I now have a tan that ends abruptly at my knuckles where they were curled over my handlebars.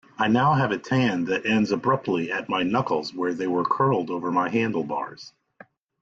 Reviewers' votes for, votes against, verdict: 2, 0, accepted